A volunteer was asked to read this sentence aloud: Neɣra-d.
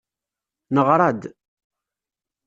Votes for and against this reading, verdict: 2, 0, accepted